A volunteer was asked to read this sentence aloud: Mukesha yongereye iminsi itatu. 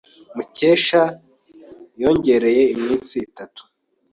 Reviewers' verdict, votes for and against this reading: accepted, 2, 0